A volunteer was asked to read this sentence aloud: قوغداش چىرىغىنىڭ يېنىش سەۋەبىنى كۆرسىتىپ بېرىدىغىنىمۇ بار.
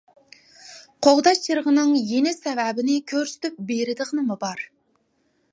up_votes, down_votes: 2, 0